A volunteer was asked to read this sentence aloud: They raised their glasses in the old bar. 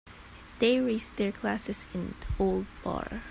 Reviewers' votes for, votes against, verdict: 4, 0, accepted